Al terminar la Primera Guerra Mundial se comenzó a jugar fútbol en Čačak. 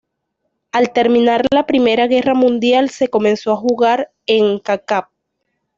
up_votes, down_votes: 1, 2